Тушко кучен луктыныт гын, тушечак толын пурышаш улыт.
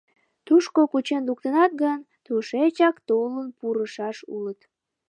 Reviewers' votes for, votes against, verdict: 0, 2, rejected